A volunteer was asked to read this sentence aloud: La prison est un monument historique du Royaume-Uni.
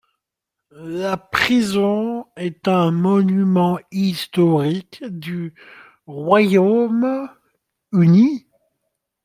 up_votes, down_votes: 2, 0